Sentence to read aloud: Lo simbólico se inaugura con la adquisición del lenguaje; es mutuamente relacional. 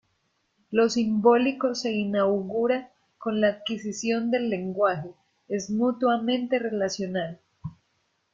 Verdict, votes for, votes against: accepted, 2, 0